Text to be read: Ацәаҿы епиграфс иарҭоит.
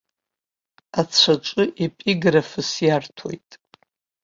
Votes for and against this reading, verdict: 0, 2, rejected